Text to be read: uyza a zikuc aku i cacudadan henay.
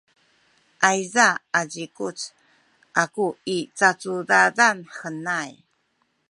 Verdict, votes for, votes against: rejected, 1, 2